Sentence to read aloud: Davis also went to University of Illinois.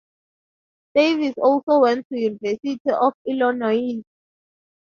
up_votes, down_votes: 0, 2